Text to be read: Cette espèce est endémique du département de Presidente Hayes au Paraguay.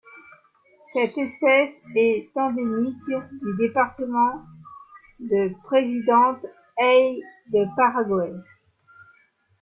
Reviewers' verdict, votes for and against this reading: rejected, 1, 2